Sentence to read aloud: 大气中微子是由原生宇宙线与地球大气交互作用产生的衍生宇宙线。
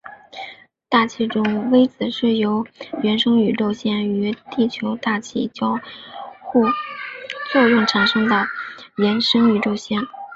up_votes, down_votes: 4, 0